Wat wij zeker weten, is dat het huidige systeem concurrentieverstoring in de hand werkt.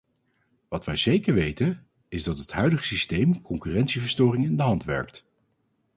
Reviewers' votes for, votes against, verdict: 2, 0, accepted